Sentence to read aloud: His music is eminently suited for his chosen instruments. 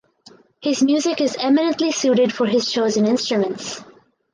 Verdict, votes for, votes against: accepted, 4, 0